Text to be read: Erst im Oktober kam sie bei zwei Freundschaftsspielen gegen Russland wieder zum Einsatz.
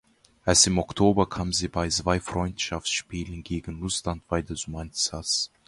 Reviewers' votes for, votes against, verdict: 0, 2, rejected